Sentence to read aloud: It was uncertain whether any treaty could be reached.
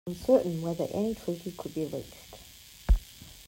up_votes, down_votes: 1, 2